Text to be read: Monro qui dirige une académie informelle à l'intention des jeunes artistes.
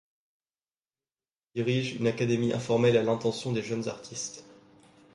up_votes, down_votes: 0, 2